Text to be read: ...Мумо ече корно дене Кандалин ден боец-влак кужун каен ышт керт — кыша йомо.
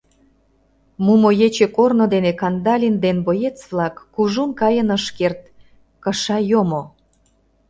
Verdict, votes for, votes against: rejected, 0, 2